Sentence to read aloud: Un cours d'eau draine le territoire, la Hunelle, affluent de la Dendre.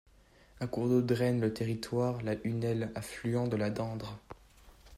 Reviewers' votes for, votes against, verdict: 2, 0, accepted